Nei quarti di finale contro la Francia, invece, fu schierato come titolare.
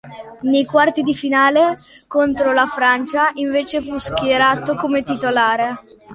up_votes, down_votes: 2, 1